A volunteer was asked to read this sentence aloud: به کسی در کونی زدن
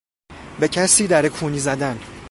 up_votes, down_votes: 2, 0